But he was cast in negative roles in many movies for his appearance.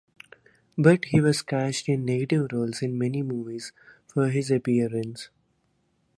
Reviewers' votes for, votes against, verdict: 2, 0, accepted